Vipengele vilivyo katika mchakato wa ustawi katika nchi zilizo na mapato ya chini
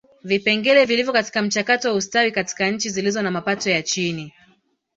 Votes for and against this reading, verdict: 3, 0, accepted